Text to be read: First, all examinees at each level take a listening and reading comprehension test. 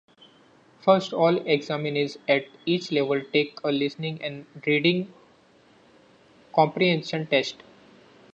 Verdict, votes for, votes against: accepted, 2, 0